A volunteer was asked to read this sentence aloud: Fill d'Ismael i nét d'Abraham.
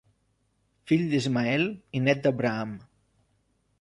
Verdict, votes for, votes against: accepted, 3, 0